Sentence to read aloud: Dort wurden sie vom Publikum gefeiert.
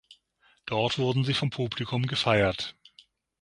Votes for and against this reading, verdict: 6, 0, accepted